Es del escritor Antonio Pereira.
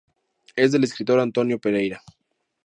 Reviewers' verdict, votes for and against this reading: accepted, 2, 0